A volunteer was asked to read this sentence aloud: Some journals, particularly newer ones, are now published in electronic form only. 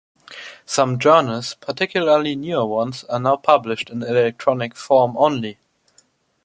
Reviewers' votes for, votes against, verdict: 2, 0, accepted